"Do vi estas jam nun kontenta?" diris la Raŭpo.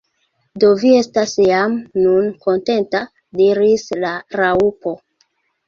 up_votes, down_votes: 0, 2